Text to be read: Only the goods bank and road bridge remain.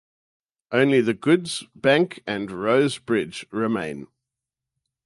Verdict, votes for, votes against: rejected, 0, 2